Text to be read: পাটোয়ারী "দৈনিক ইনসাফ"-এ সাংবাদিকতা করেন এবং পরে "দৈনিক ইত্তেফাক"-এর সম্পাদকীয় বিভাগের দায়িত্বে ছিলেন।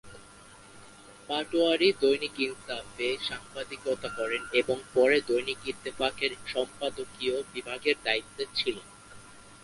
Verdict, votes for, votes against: rejected, 1, 2